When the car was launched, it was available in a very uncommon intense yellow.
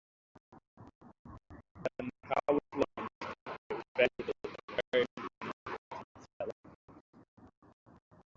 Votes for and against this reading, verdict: 0, 3, rejected